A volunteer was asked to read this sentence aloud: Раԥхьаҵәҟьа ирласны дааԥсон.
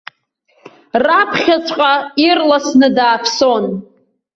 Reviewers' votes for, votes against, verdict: 2, 0, accepted